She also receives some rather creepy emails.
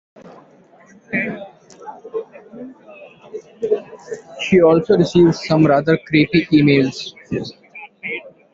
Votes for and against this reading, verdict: 0, 3, rejected